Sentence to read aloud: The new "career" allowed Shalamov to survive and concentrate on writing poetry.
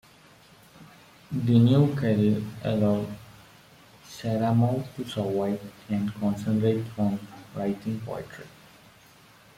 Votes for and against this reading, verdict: 1, 2, rejected